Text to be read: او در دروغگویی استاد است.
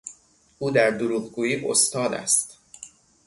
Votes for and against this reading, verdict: 6, 0, accepted